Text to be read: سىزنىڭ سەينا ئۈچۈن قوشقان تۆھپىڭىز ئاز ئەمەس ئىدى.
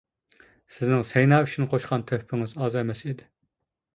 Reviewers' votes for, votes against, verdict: 2, 0, accepted